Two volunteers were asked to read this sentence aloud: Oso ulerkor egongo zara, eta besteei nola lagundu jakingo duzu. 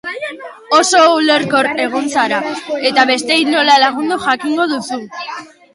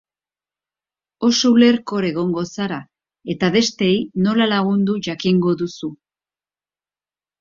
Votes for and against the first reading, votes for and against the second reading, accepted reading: 0, 2, 5, 0, second